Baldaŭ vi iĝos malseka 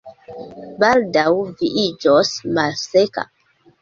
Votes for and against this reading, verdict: 2, 0, accepted